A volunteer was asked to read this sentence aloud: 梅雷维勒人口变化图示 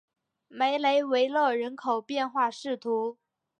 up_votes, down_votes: 0, 2